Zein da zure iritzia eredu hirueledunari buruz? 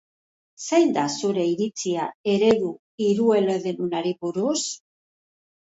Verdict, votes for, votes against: rejected, 0, 2